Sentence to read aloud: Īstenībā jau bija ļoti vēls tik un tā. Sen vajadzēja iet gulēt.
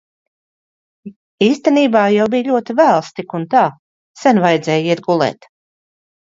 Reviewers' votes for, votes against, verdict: 2, 0, accepted